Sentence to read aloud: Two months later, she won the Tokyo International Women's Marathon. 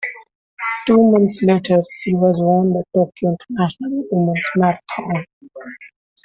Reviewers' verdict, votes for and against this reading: rejected, 1, 2